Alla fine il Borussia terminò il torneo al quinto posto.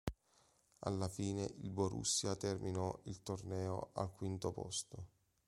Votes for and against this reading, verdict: 2, 0, accepted